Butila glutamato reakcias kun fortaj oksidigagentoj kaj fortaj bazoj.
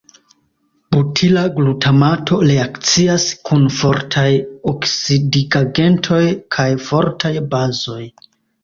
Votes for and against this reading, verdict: 0, 2, rejected